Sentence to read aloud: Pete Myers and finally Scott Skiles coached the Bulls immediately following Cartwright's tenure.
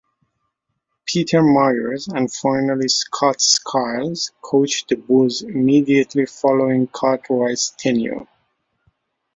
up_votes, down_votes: 0, 2